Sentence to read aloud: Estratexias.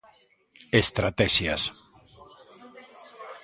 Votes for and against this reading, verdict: 2, 0, accepted